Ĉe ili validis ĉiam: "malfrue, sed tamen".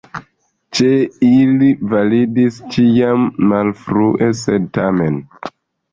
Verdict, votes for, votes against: rejected, 0, 2